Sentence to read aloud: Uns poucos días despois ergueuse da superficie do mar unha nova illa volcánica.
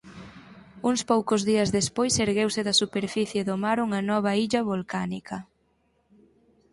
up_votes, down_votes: 4, 0